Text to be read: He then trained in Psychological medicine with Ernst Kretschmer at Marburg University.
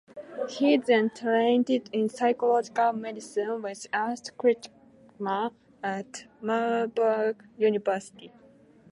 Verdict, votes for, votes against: rejected, 0, 2